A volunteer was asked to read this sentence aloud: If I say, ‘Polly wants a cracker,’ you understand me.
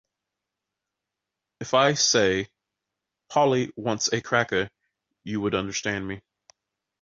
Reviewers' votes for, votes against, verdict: 1, 2, rejected